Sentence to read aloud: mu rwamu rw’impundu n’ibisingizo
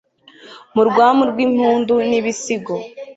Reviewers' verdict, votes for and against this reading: rejected, 0, 2